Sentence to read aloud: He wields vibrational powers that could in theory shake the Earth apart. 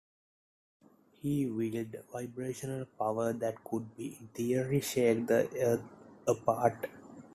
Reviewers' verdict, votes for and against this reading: accepted, 2, 1